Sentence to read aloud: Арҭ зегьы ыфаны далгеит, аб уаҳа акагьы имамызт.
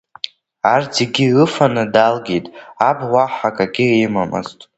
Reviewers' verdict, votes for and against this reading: accepted, 2, 0